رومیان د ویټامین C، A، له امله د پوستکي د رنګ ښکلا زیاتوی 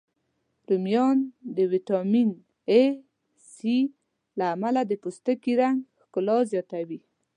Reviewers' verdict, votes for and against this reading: accepted, 2, 0